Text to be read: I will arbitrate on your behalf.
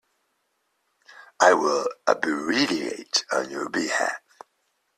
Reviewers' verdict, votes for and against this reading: rejected, 1, 3